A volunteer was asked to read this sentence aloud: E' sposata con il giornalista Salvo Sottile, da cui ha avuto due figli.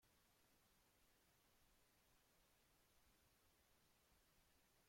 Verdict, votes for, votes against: rejected, 0, 2